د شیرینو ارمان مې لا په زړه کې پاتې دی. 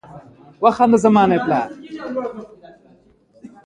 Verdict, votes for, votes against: rejected, 1, 2